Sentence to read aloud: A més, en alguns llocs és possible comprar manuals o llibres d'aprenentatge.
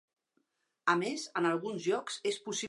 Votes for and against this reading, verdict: 0, 2, rejected